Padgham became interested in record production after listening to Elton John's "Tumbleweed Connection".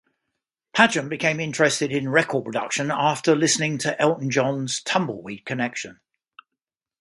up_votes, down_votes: 2, 1